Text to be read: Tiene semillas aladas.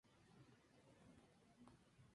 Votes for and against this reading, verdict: 0, 2, rejected